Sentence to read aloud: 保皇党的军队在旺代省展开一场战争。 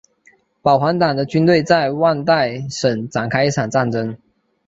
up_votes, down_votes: 2, 0